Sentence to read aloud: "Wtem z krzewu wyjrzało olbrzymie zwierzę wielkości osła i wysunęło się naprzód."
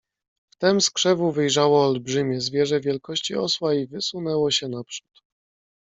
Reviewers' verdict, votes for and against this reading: accepted, 2, 0